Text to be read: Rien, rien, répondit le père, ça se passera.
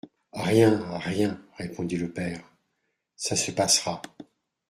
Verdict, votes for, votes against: rejected, 1, 2